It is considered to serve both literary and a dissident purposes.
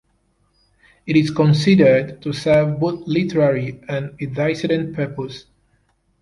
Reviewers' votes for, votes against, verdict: 1, 2, rejected